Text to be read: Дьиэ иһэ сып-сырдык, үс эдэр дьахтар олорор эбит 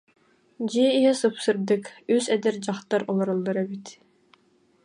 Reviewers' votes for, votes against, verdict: 0, 2, rejected